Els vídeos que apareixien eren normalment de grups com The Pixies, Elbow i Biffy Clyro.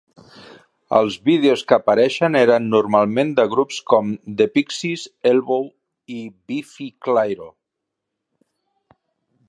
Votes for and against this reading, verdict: 0, 2, rejected